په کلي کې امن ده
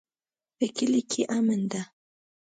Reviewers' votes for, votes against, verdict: 2, 0, accepted